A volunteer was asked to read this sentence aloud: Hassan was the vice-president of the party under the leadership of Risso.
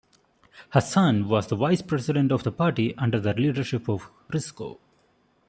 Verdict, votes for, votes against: rejected, 0, 2